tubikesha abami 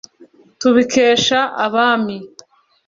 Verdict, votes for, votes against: accepted, 2, 0